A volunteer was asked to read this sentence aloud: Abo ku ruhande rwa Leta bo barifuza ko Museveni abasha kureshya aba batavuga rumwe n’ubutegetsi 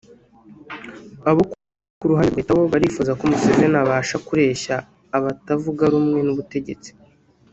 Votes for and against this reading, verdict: 0, 2, rejected